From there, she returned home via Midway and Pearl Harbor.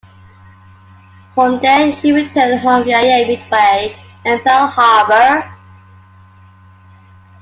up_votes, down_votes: 1, 2